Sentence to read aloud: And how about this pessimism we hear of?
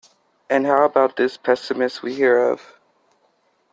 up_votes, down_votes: 2, 0